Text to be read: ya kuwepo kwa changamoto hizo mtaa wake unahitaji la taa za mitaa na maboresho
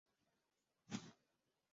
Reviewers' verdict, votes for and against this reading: rejected, 1, 2